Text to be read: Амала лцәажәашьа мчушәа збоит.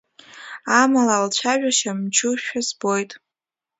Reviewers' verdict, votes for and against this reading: accepted, 2, 1